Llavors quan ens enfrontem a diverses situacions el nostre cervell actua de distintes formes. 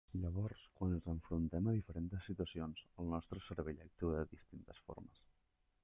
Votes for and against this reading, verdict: 1, 2, rejected